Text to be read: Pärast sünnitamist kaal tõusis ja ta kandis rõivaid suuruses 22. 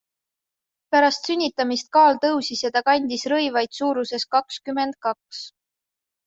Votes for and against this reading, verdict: 0, 2, rejected